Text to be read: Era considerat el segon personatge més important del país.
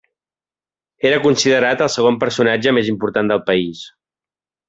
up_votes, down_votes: 3, 0